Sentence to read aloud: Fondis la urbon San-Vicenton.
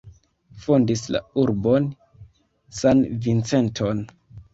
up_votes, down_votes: 0, 2